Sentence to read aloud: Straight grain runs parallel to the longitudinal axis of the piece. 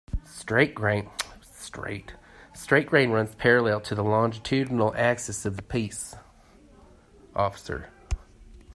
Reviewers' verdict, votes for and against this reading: rejected, 0, 2